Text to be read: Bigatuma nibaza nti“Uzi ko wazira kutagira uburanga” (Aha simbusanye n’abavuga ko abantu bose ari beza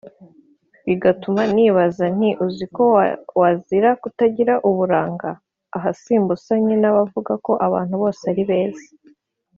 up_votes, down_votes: 1, 2